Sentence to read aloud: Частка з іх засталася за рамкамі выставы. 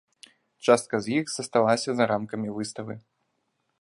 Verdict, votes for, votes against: rejected, 1, 2